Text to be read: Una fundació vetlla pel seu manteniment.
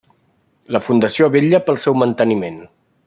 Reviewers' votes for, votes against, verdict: 1, 2, rejected